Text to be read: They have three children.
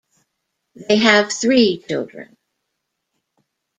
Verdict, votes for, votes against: rejected, 1, 2